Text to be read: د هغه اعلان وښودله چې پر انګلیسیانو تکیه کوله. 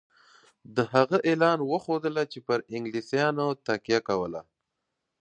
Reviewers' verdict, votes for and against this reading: accepted, 2, 0